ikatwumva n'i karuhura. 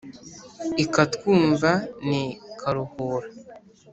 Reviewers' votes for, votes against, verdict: 2, 0, accepted